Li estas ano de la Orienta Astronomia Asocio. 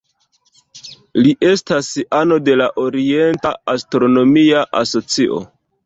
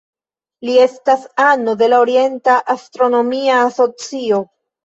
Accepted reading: second